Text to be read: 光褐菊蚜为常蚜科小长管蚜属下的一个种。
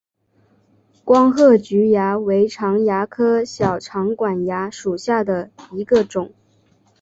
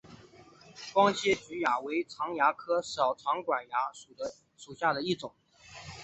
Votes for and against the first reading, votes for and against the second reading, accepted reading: 2, 1, 2, 3, first